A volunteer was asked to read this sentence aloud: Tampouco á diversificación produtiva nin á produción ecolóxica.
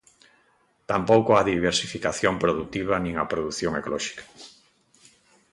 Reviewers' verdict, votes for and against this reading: accepted, 2, 0